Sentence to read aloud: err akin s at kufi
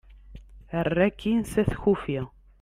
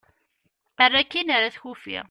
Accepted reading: first